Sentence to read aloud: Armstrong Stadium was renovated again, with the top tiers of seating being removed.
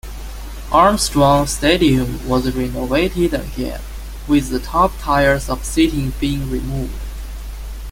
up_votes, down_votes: 0, 2